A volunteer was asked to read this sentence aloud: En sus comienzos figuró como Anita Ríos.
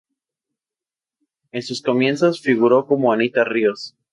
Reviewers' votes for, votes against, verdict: 4, 0, accepted